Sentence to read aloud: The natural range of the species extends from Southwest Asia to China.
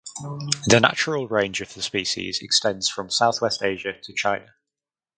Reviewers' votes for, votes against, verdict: 4, 2, accepted